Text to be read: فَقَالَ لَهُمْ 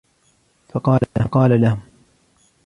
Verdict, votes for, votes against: rejected, 1, 2